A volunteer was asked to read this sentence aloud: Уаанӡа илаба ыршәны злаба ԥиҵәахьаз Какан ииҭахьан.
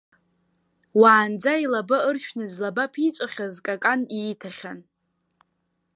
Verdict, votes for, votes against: rejected, 0, 2